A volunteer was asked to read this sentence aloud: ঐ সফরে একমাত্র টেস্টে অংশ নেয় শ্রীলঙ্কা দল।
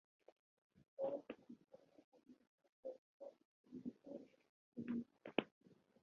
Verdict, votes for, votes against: rejected, 0, 2